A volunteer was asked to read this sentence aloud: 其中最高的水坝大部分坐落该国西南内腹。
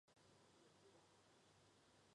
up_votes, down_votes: 2, 1